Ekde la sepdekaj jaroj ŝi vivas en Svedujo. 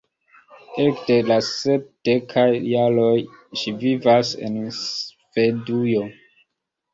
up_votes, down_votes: 2, 0